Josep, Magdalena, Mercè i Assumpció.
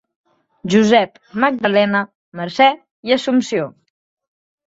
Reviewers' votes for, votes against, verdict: 3, 0, accepted